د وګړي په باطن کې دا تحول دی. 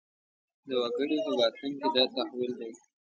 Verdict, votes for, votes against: rejected, 0, 2